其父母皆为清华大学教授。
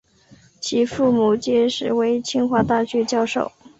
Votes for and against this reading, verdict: 2, 2, rejected